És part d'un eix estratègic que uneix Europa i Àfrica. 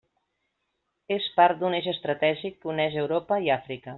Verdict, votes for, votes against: accepted, 3, 0